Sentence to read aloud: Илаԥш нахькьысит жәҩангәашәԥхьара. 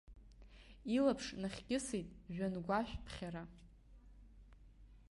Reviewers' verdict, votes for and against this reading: accepted, 4, 1